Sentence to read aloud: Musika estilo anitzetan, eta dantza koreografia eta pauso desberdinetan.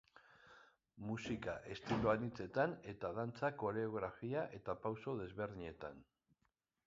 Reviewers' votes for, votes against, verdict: 2, 0, accepted